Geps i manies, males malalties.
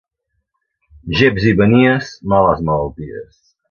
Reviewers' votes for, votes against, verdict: 2, 0, accepted